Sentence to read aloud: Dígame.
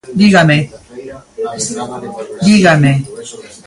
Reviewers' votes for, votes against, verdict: 0, 2, rejected